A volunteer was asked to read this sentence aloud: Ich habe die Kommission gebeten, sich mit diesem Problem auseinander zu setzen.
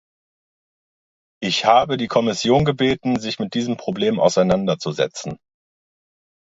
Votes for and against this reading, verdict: 2, 0, accepted